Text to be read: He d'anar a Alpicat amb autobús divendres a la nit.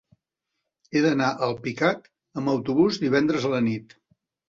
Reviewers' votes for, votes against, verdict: 3, 0, accepted